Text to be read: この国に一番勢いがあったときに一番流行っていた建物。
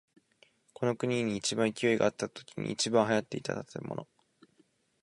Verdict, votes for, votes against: accepted, 2, 0